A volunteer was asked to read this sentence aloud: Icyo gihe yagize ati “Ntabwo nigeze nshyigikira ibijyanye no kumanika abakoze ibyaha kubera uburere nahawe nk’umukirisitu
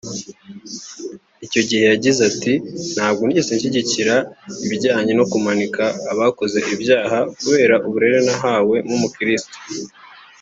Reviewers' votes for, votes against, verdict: 2, 0, accepted